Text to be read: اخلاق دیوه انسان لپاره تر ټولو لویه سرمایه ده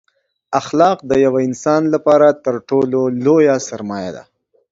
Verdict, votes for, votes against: accepted, 2, 0